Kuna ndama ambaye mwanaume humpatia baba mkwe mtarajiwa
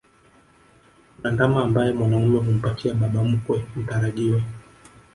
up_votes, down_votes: 1, 2